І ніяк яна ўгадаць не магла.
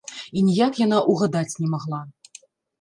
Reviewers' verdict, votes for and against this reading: rejected, 1, 2